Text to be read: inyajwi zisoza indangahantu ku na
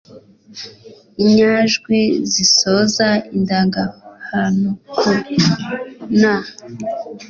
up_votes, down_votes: 2, 0